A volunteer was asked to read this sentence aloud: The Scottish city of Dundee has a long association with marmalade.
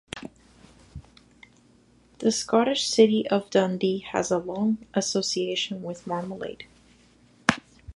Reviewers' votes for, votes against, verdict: 2, 0, accepted